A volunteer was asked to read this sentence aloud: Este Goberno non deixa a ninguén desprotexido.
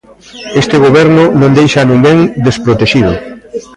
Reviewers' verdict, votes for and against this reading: rejected, 1, 2